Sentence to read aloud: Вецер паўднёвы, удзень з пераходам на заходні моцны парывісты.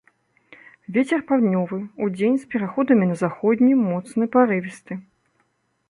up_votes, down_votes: 0, 2